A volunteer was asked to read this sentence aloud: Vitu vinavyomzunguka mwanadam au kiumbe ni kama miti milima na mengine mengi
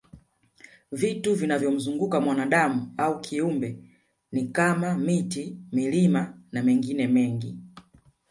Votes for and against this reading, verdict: 3, 0, accepted